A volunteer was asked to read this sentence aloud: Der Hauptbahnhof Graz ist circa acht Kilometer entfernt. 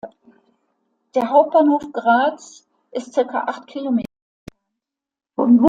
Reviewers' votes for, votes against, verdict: 0, 2, rejected